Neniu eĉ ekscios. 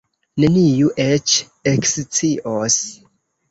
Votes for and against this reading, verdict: 2, 1, accepted